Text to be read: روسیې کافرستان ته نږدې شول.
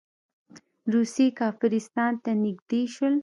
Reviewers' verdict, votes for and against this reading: rejected, 1, 2